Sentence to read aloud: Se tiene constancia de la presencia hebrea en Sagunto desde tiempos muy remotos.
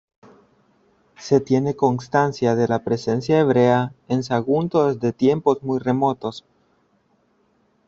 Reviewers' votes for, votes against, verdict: 2, 0, accepted